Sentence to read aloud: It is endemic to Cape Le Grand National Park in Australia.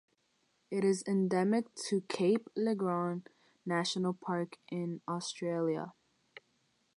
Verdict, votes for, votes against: accepted, 6, 0